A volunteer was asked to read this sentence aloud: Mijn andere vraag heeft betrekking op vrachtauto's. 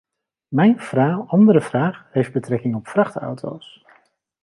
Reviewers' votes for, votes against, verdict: 0, 3, rejected